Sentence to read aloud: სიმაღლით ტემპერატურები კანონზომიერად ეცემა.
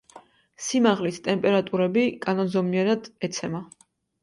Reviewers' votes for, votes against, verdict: 1, 2, rejected